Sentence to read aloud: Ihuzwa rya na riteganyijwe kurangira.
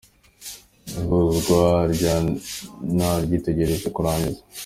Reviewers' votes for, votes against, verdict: 2, 1, accepted